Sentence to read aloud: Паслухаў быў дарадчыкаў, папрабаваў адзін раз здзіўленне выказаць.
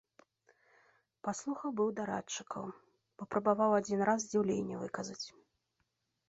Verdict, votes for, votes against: accepted, 3, 0